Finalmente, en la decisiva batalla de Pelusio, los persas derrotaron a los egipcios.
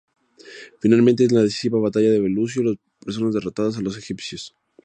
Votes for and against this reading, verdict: 0, 4, rejected